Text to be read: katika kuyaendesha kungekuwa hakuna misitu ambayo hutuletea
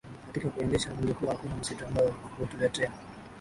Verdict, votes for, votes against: rejected, 1, 2